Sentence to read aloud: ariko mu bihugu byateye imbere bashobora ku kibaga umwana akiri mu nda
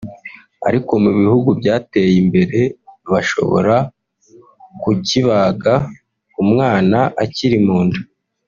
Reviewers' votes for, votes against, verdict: 2, 1, accepted